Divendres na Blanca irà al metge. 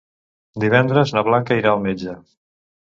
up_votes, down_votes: 2, 0